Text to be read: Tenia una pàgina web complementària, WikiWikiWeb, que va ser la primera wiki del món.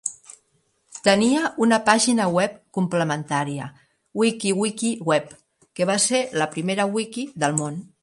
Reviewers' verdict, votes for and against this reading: accepted, 2, 0